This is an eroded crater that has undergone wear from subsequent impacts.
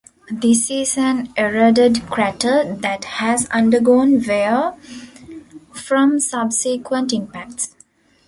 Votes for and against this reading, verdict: 2, 1, accepted